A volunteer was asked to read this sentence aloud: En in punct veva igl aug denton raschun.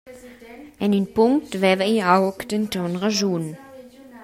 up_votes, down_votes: 2, 1